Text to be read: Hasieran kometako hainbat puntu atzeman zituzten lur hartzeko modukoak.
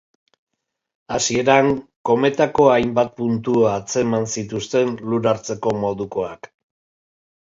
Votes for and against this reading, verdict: 2, 0, accepted